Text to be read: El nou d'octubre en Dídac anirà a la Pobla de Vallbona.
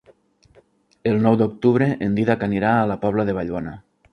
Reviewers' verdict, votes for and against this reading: accepted, 3, 0